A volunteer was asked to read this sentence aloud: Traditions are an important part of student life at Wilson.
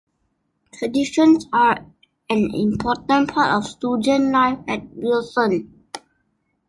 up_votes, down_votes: 2, 1